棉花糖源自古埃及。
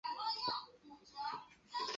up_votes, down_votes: 1, 4